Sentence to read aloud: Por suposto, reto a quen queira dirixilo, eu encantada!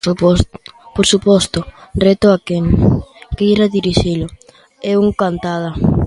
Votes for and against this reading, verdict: 0, 3, rejected